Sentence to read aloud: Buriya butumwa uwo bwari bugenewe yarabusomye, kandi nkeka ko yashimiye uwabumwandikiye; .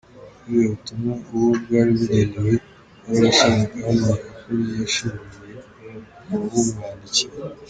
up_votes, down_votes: 0, 2